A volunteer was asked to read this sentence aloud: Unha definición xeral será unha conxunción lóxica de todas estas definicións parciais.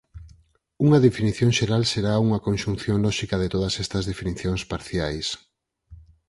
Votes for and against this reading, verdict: 4, 0, accepted